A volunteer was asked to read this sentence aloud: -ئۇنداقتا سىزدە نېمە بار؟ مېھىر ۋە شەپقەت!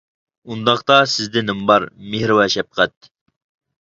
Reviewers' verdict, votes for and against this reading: rejected, 1, 2